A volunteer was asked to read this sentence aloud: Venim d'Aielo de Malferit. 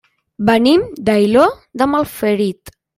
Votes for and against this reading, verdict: 0, 2, rejected